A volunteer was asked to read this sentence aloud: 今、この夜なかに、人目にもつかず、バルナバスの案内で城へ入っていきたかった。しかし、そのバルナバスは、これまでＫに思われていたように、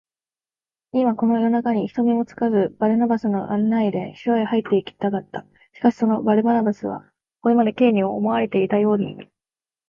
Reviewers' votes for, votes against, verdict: 2, 1, accepted